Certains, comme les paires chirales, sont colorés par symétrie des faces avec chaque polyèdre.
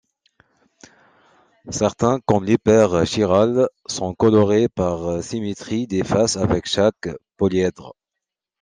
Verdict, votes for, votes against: accepted, 2, 0